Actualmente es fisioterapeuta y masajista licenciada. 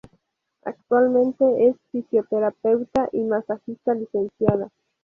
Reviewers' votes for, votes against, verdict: 2, 2, rejected